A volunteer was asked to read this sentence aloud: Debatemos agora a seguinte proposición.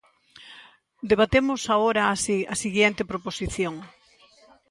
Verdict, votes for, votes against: rejected, 0, 2